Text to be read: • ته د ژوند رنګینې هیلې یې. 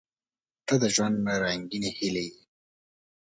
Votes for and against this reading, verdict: 2, 0, accepted